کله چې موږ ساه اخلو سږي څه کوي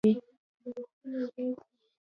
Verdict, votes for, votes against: rejected, 1, 2